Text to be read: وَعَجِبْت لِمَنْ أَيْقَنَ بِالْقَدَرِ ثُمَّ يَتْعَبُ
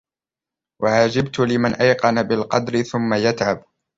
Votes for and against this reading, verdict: 2, 0, accepted